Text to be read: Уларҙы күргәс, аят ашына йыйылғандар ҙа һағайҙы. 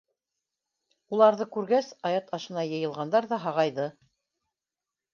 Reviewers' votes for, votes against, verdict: 2, 0, accepted